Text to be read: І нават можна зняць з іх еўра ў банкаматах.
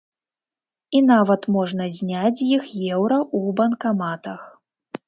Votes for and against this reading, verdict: 0, 2, rejected